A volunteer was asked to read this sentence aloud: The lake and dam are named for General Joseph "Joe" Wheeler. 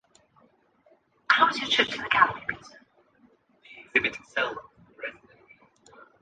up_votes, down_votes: 0, 2